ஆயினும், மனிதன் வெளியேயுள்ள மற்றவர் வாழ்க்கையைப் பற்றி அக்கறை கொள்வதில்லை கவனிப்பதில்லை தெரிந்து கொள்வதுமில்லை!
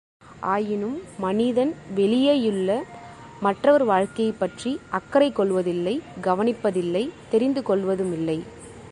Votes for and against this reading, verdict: 3, 0, accepted